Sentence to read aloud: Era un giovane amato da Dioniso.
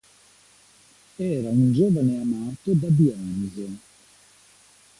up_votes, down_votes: 2, 1